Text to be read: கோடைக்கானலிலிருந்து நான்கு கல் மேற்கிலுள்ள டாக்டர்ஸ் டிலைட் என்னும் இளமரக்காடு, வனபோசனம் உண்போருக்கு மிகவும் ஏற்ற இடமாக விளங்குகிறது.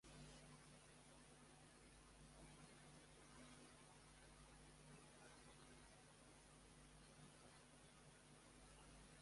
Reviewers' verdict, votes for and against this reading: rejected, 1, 2